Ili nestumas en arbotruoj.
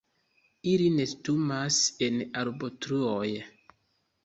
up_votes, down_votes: 2, 0